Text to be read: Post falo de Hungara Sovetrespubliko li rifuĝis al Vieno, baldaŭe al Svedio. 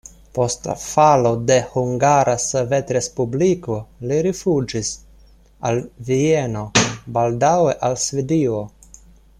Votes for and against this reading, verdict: 1, 2, rejected